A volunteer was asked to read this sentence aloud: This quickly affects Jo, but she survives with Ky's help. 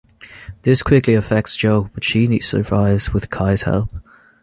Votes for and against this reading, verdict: 2, 0, accepted